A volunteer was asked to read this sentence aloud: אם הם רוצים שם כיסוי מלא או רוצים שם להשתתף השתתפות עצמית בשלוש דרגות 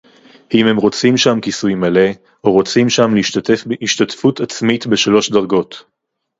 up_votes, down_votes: 4, 0